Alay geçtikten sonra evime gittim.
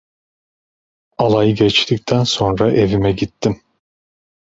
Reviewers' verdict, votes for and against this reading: accepted, 2, 0